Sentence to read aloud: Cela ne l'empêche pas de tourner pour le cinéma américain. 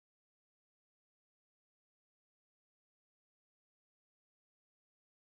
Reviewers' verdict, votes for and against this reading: rejected, 0, 2